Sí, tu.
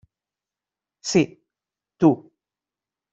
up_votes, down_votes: 3, 0